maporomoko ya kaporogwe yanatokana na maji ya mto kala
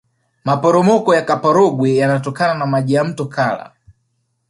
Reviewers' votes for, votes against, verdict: 2, 0, accepted